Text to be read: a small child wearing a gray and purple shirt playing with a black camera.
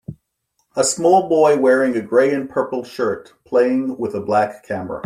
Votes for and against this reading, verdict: 0, 2, rejected